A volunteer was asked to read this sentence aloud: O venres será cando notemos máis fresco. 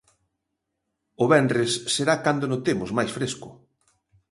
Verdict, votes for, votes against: accepted, 2, 0